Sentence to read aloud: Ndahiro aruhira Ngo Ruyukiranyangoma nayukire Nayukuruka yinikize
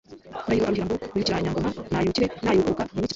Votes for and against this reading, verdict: 1, 2, rejected